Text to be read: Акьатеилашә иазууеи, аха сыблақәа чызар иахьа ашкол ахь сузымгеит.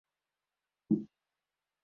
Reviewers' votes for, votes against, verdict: 0, 2, rejected